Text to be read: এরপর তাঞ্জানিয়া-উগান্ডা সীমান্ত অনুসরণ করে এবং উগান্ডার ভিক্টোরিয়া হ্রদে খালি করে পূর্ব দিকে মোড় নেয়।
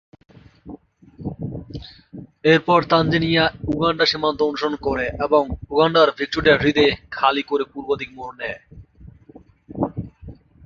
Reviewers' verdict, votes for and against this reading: rejected, 0, 2